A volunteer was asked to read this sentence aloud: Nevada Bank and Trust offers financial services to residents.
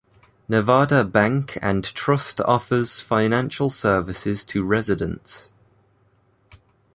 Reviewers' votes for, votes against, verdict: 2, 0, accepted